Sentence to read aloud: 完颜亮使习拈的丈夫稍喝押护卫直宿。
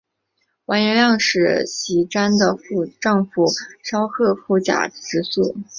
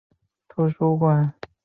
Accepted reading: first